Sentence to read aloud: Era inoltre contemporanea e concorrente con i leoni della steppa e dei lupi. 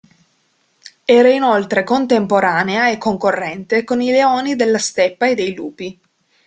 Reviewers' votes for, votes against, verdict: 2, 0, accepted